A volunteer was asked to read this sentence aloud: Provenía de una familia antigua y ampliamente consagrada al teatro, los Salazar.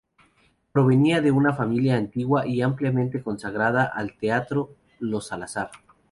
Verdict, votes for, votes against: accepted, 2, 0